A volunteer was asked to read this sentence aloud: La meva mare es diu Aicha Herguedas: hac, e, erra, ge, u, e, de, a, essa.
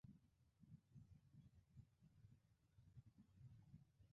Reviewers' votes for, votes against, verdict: 0, 2, rejected